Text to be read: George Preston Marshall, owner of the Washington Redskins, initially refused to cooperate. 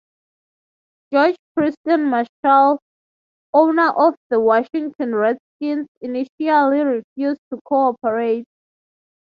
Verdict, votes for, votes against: accepted, 6, 3